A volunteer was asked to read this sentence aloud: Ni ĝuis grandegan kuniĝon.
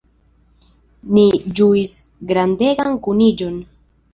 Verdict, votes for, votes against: accepted, 2, 0